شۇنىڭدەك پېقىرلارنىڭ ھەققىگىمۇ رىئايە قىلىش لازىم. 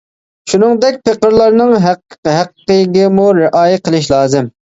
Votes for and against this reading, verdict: 0, 2, rejected